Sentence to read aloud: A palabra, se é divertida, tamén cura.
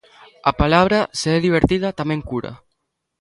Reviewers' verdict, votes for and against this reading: accepted, 2, 0